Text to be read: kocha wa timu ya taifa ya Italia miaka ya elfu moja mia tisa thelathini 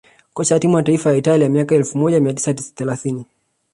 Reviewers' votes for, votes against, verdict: 2, 0, accepted